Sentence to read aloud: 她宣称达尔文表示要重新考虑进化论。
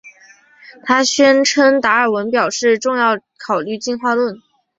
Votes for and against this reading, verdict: 3, 2, accepted